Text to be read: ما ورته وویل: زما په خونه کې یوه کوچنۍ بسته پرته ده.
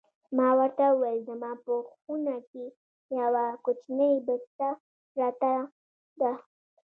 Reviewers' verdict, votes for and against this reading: rejected, 0, 2